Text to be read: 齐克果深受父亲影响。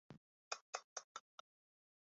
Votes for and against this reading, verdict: 1, 4, rejected